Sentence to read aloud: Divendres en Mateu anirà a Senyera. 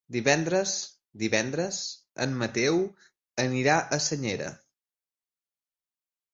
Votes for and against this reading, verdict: 0, 2, rejected